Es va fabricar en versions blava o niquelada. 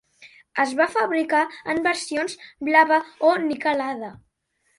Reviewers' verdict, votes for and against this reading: accepted, 3, 0